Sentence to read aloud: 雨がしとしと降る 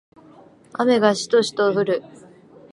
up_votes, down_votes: 2, 0